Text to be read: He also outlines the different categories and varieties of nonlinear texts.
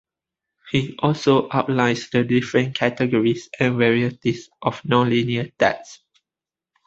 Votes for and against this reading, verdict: 2, 0, accepted